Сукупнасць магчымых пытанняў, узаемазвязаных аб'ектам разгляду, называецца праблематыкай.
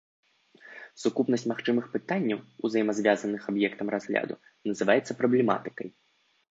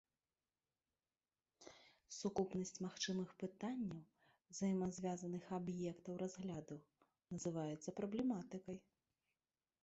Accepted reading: first